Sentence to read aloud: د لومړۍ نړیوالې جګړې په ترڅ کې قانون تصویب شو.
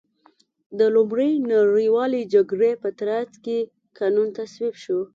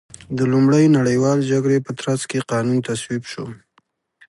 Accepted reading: second